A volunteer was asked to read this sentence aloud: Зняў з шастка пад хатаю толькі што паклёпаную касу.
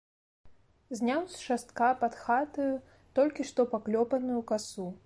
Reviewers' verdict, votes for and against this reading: accepted, 2, 0